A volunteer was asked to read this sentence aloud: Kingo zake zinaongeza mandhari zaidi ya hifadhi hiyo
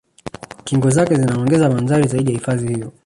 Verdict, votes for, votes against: rejected, 1, 2